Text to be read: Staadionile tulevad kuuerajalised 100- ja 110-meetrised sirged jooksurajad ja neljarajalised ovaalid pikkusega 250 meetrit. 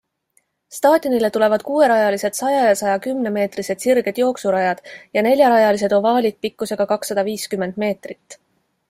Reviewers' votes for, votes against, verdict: 0, 2, rejected